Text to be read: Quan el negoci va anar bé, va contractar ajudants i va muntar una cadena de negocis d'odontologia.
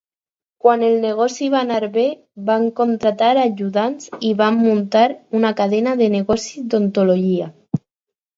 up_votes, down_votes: 2, 4